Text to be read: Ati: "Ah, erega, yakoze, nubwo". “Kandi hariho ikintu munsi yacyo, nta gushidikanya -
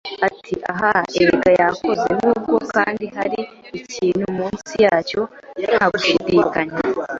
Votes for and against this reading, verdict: 1, 2, rejected